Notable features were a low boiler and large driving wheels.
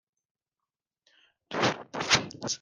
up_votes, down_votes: 0, 2